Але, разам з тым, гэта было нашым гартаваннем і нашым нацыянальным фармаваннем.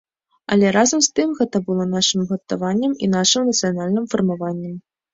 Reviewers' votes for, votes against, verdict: 2, 0, accepted